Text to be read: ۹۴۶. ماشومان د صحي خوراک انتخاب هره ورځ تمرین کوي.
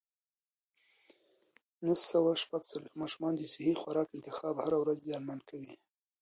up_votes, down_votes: 0, 2